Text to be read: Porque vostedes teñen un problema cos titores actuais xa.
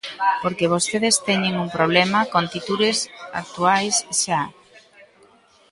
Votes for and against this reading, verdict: 0, 2, rejected